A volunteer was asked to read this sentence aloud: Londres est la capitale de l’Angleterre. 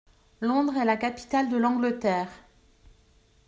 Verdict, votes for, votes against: accepted, 2, 0